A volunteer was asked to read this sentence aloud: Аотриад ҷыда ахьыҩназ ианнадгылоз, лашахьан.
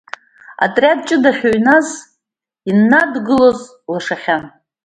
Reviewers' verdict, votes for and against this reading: accepted, 2, 0